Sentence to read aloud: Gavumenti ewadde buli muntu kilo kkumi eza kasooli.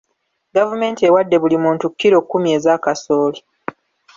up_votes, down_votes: 1, 2